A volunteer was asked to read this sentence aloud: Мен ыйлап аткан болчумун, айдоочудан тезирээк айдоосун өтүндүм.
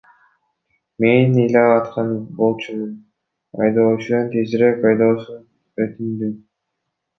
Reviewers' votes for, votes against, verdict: 1, 2, rejected